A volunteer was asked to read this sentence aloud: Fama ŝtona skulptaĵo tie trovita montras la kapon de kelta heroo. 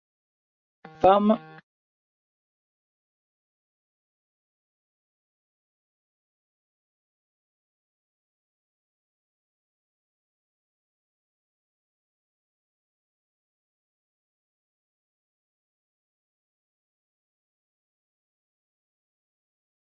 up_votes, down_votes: 0, 2